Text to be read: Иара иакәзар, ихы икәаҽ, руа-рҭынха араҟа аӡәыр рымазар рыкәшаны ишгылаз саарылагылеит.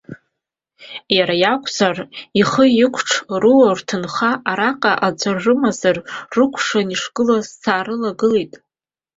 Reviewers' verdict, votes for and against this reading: accepted, 2, 0